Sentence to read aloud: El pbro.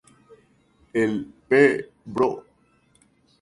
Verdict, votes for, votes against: rejected, 0, 2